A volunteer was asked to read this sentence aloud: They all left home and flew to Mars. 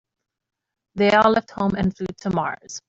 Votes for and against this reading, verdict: 1, 2, rejected